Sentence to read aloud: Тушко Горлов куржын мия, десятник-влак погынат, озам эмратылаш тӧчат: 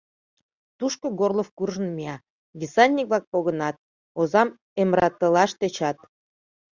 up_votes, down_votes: 1, 2